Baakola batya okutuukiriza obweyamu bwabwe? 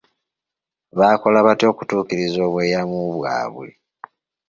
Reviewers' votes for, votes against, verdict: 2, 1, accepted